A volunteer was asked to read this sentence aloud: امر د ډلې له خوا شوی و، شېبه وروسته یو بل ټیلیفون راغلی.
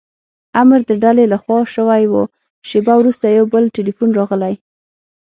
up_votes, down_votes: 6, 0